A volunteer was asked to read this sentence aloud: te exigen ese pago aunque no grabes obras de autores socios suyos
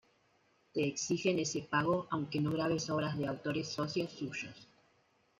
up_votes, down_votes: 1, 2